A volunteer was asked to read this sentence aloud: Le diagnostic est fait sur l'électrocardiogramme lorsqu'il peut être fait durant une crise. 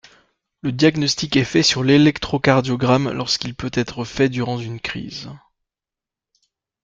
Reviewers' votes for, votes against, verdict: 0, 2, rejected